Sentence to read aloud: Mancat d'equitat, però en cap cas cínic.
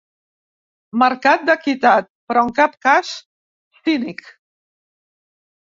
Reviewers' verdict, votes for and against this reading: rejected, 1, 2